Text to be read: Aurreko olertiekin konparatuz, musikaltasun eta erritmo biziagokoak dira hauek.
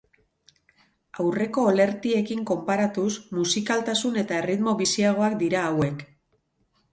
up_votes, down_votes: 2, 2